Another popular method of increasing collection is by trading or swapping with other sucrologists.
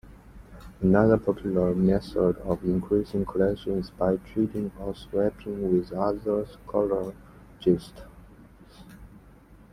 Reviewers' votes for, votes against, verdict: 1, 2, rejected